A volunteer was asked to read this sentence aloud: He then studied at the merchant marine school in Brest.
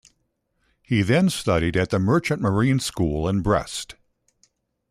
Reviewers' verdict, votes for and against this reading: accepted, 2, 0